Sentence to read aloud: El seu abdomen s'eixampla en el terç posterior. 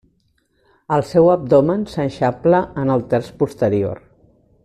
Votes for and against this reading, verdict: 2, 0, accepted